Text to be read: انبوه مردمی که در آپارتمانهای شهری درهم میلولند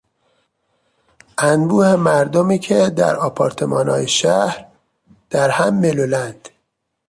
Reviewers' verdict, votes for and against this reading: rejected, 0, 2